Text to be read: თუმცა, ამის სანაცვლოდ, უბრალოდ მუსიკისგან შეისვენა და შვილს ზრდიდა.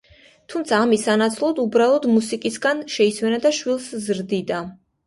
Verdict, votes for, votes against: accepted, 2, 0